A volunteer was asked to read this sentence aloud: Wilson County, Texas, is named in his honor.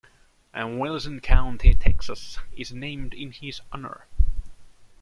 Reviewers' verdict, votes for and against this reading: rejected, 1, 2